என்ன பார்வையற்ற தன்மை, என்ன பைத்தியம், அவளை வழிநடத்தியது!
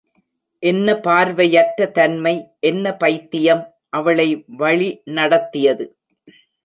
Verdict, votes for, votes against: accepted, 2, 0